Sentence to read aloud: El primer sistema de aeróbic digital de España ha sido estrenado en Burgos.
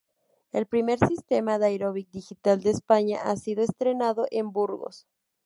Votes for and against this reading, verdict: 0, 2, rejected